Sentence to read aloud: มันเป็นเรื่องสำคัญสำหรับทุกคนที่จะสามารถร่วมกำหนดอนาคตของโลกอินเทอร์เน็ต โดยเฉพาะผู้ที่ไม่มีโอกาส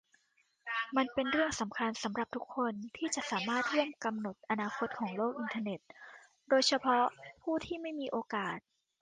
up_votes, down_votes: 2, 1